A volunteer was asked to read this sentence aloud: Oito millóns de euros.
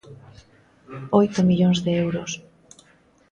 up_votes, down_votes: 2, 0